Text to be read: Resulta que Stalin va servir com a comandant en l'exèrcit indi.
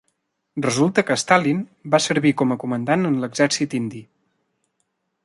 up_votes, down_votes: 0, 2